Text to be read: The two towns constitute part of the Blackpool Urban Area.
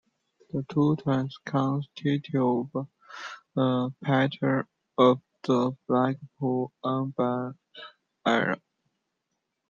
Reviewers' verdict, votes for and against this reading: rejected, 0, 2